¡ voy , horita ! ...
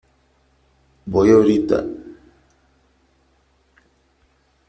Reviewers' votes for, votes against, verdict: 3, 0, accepted